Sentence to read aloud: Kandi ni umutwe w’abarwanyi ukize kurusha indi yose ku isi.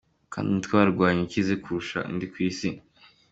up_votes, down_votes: 2, 1